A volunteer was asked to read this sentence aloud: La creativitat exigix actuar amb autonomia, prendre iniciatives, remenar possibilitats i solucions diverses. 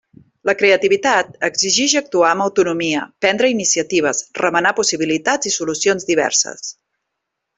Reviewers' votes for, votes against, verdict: 3, 0, accepted